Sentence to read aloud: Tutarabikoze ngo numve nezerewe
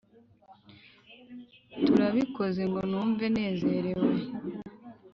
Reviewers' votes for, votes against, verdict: 0, 2, rejected